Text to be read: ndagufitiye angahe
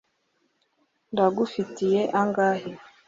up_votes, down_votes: 2, 0